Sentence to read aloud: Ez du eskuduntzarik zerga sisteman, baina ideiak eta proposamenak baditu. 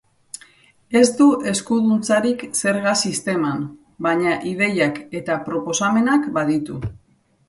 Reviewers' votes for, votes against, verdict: 3, 0, accepted